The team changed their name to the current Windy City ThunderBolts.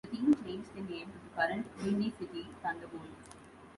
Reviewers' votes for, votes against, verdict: 0, 2, rejected